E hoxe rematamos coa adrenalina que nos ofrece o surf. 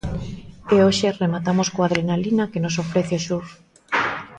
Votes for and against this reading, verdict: 2, 0, accepted